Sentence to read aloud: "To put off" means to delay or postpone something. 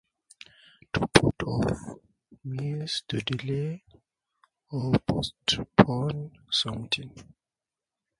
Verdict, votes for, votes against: rejected, 2, 2